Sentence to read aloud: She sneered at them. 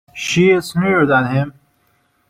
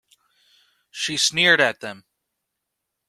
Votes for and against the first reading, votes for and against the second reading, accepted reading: 0, 2, 2, 0, second